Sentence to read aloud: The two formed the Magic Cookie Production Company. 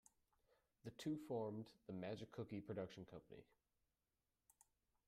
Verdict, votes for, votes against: rejected, 0, 2